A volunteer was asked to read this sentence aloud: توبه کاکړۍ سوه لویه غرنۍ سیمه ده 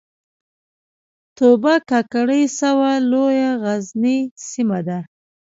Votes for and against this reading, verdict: 1, 2, rejected